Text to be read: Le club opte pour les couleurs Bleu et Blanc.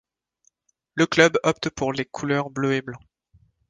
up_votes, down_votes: 2, 0